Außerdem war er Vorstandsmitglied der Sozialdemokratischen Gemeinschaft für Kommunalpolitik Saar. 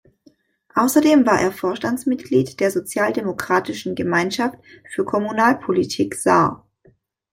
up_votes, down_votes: 2, 0